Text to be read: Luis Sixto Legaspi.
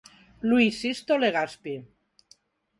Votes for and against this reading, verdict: 4, 0, accepted